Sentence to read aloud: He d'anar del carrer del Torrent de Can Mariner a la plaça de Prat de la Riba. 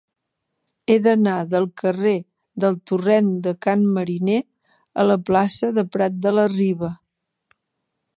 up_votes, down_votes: 3, 0